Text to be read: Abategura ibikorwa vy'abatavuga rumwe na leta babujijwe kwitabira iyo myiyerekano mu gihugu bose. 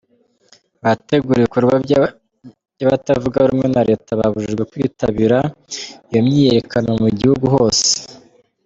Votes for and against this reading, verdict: 0, 2, rejected